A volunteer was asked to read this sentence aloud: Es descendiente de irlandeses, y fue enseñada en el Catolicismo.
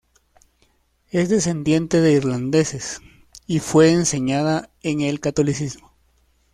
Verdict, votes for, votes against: accepted, 2, 0